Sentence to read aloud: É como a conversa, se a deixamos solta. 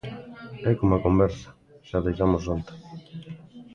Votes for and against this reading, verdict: 0, 2, rejected